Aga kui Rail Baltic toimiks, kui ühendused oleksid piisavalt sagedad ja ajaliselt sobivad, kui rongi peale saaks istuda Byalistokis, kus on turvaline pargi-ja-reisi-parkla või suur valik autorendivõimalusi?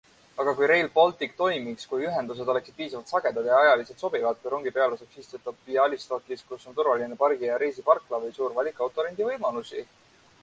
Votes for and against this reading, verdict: 2, 1, accepted